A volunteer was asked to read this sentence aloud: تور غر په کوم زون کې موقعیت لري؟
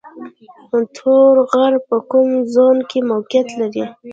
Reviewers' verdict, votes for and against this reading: rejected, 0, 2